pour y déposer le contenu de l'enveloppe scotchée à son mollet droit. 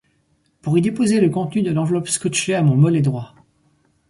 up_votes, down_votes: 2, 4